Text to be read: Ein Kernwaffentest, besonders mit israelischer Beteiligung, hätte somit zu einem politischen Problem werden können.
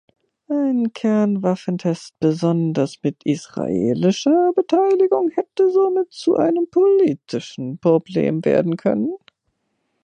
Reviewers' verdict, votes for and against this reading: rejected, 1, 2